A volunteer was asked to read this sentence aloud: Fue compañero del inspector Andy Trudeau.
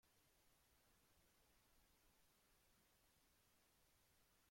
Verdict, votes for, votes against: rejected, 0, 2